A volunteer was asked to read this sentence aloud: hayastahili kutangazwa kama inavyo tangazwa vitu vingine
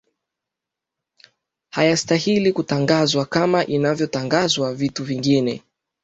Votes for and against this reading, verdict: 2, 0, accepted